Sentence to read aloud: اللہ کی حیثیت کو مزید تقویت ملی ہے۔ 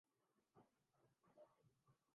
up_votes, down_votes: 0, 2